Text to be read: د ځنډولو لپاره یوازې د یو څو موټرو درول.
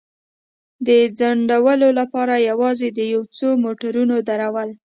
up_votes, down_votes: 2, 0